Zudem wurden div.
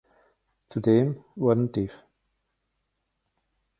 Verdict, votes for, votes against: rejected, 0, 2